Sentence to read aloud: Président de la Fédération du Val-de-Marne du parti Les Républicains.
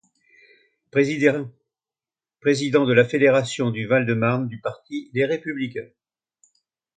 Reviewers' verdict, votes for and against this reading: rejected, 0, 2